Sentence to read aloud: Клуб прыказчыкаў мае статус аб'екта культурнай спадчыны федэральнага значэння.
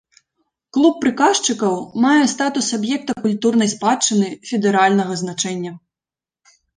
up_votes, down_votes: 2, 0